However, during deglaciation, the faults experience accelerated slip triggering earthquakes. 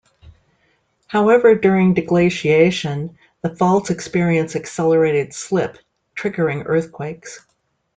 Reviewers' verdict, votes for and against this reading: accepted, 2, 0